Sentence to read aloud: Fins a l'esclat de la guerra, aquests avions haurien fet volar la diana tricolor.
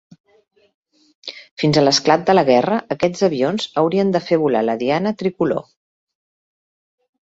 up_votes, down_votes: 0, 2